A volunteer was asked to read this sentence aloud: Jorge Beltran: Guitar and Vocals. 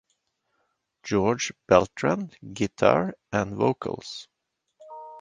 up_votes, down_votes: 2, 0